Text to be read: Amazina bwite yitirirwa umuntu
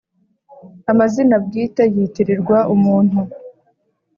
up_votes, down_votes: 2, 0